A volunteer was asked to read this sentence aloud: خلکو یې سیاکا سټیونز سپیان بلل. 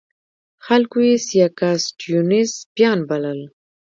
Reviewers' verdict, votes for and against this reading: rejected, 1, 2